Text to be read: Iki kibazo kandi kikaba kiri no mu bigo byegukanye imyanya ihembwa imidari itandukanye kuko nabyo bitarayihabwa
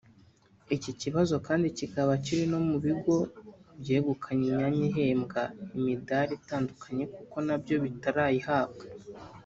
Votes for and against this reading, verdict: 0, 2, rejected